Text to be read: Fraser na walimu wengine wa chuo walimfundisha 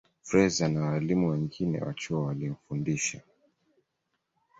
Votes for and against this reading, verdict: 2, 0, accepted